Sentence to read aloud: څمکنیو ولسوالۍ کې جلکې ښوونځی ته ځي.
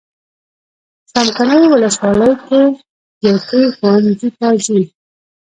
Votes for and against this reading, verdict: 1, 2, rejected